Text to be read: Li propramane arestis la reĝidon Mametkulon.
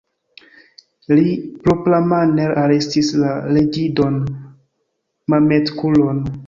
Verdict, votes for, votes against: rejected, 1, 2